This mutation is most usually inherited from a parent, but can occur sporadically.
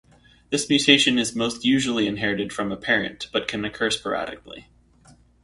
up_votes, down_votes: 0, 2